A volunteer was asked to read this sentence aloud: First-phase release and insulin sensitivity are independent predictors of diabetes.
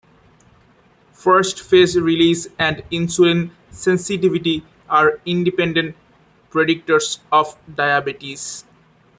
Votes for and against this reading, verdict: 0, 2, rejected